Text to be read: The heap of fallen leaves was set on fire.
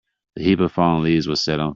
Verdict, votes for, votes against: rejected, 0, 2